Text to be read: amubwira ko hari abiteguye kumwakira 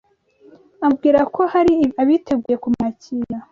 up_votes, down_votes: 1, 2